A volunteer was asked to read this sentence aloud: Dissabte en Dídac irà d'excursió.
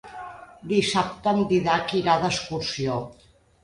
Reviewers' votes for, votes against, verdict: 1, 2, rejected